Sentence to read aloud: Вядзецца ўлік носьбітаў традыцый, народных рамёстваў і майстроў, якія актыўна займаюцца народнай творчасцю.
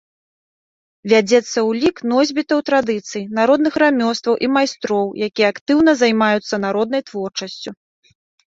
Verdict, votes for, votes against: accepted, 2, 0